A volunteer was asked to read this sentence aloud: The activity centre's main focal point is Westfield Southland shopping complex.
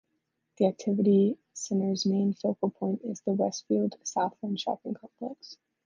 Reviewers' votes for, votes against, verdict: 0, 2, rejected